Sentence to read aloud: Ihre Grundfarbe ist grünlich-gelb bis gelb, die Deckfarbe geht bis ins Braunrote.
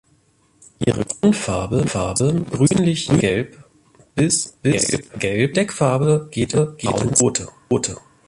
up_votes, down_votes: 0, 2